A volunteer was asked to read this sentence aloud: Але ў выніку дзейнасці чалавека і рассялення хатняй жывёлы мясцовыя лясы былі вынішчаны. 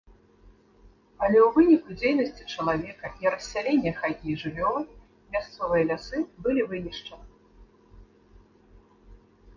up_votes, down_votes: 0, 3